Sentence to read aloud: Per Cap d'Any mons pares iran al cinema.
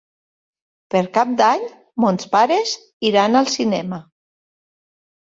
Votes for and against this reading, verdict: 3, 0, accepted